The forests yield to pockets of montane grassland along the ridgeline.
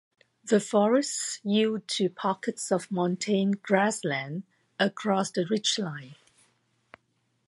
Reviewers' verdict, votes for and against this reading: rejected, 1, 2